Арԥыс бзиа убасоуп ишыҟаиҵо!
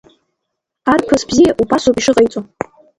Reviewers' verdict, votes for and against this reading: rejected, 0, 2